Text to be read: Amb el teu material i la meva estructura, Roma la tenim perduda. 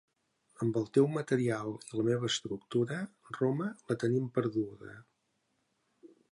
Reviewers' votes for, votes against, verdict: 2, 0, accepted